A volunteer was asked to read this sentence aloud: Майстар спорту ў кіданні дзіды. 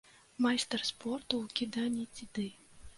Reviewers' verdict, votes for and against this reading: rejected, 0, 2